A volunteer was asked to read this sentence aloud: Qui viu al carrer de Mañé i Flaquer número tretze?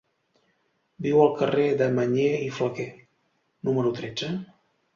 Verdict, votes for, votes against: rejected, 0, 2